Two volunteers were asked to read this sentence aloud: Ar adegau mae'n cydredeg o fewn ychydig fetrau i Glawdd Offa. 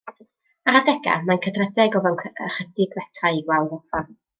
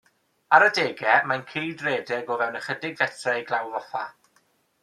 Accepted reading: second